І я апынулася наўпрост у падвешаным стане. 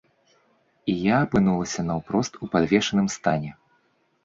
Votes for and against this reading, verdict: 2, 0, accepted